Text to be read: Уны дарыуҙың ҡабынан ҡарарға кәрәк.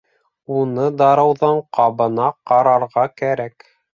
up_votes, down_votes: 0, 2